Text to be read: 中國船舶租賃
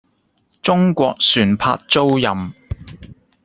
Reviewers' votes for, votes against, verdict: 3, 0, accepted